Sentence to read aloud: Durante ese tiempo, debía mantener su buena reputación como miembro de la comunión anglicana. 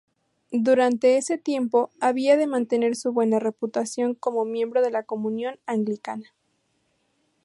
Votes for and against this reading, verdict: 0, 2, rejected